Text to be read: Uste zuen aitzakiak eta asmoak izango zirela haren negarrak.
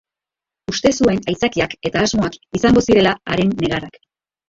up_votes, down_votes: 0, 2